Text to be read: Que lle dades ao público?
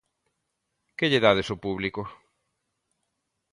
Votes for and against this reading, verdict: 2, 0, accepted